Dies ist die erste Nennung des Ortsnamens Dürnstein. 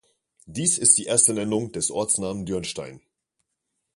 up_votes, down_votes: 1, 2